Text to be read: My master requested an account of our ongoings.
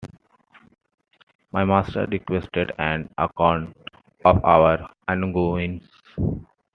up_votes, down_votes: 2, 0